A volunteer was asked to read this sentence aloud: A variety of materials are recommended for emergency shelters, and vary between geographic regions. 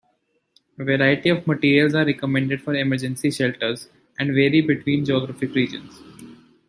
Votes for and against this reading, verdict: 2, 3, rejected